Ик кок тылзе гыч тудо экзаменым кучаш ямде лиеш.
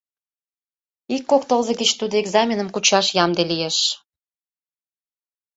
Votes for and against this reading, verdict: 2, 0, accepted